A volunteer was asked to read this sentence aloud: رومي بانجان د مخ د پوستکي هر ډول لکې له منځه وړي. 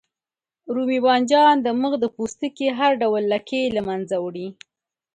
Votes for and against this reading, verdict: 2, 0, accepted